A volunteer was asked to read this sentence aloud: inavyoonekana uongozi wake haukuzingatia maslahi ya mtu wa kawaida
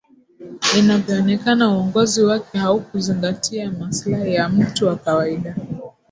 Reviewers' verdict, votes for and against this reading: accepted, 10, 1